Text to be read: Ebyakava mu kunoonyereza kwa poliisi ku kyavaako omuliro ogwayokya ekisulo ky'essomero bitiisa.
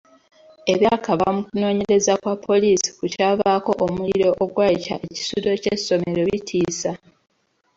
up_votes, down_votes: 2, 0